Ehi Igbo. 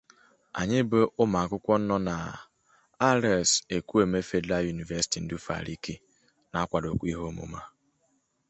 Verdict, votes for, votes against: rejected, 0, 2